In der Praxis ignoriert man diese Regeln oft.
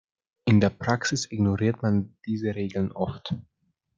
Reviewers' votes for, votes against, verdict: 1, 2, rejected